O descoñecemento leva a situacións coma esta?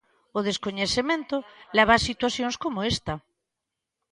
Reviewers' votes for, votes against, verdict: 1, 2, rejected